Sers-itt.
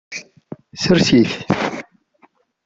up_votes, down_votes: 1, 2